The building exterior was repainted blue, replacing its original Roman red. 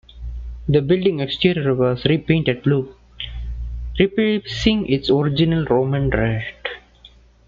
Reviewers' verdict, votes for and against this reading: rejected, 1, 2